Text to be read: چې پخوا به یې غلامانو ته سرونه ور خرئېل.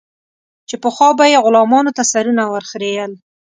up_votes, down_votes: 2, 0